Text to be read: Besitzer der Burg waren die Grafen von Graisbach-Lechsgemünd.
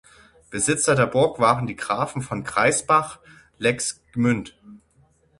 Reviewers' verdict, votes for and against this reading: rejected, 0, 6